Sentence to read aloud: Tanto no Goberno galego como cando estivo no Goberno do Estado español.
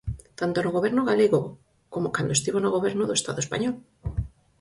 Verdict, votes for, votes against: accepted, 6, 0